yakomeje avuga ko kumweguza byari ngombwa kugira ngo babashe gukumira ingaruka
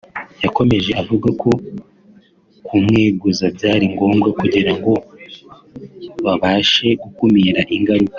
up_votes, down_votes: 2, 1